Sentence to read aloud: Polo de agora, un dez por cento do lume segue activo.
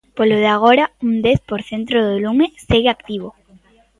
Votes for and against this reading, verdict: 1, 2, rejected